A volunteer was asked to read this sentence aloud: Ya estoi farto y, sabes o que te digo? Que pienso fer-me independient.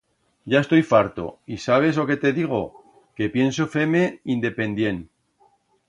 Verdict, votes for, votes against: accepted, 2, 0